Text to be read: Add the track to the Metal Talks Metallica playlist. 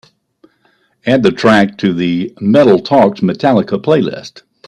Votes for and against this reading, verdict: 2, 0, accepted